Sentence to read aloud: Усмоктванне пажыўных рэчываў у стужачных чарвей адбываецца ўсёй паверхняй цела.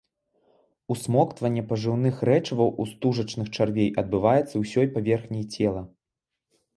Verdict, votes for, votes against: accepted, 2, 0